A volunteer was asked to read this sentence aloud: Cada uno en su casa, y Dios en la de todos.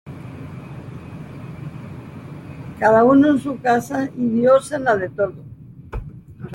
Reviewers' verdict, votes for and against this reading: accepted, 2, 0